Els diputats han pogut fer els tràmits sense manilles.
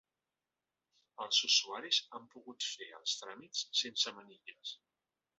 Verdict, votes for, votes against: rejected, 0, 3